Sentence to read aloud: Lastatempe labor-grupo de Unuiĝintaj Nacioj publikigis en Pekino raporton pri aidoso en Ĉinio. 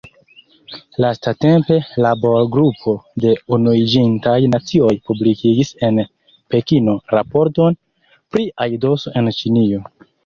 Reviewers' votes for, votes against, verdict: 1, 2, rejected